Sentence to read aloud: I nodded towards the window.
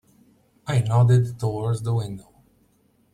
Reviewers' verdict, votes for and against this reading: accepted, 2, 0